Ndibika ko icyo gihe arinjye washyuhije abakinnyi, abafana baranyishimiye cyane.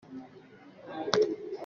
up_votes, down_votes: 0, 2